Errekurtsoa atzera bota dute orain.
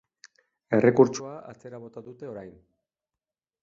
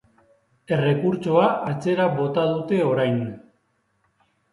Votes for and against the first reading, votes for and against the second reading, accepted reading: 1, 2, 2, 1, second